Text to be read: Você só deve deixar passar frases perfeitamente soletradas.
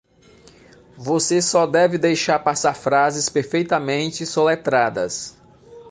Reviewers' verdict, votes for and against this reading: accepted, 2, 0